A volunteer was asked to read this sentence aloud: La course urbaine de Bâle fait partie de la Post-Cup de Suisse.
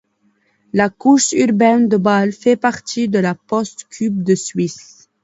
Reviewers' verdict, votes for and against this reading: rejected, 0, 2